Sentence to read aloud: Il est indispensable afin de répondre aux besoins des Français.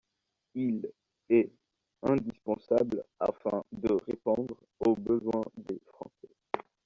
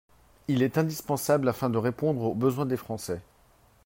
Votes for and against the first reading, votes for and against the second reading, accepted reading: 1, 2, 4, 1, second